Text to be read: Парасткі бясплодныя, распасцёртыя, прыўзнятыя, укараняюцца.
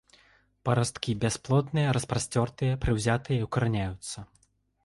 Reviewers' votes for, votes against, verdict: 0, 2, rejected